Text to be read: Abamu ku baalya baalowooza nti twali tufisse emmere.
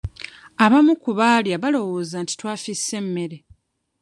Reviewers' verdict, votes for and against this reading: rejected, 1, 2